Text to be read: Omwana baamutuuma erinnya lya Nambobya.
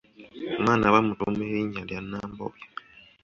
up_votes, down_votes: 0, 2